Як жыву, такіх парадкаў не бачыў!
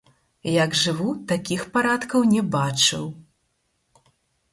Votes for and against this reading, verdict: 0, 4, rejected